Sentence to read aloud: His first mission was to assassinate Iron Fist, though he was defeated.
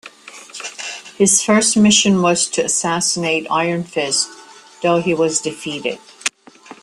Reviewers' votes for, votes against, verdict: 2, 0, accepted